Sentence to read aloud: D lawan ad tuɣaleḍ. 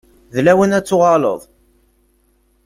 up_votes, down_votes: 2, 0